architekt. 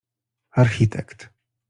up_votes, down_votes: 2, 0